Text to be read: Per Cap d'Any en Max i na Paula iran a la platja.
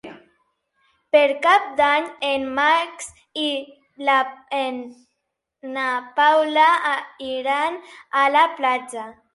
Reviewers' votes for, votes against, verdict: 0, 4, rejected